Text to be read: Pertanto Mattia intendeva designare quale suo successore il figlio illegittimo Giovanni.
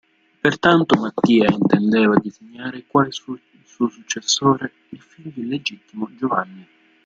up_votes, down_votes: 0, 2